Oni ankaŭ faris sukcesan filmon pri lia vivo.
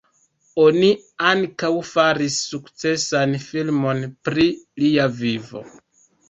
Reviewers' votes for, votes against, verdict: 2, 1, accepted